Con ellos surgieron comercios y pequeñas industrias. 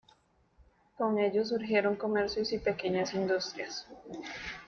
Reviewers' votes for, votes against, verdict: 2, 0, accepted